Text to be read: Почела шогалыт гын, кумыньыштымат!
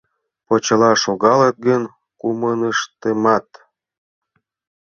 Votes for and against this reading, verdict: 1, 2, rejected